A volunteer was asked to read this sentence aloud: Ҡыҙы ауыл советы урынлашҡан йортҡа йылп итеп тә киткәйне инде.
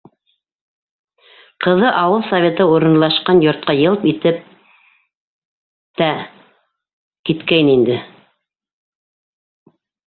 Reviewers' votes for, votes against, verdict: 0, 2, rejected